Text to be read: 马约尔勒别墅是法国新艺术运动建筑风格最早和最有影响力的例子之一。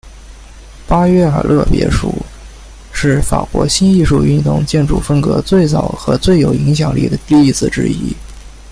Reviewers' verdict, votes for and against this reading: rejected, 1, 2